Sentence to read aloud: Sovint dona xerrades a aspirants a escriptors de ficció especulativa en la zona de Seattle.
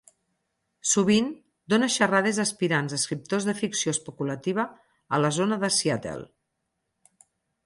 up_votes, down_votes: 0, 4